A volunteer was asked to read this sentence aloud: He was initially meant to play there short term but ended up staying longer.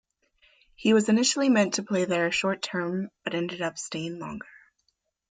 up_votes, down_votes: 2, 0